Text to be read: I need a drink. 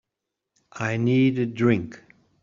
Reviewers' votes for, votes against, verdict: 3, 0, accepted